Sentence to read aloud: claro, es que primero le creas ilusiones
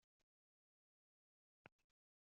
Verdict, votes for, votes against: rejected, 0, 2